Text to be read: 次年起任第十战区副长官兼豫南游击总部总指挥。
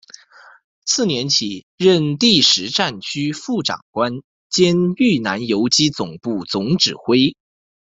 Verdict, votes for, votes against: accepted, 2, 0